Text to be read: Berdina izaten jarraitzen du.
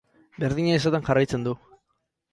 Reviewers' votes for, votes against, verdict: 4, 0, accepted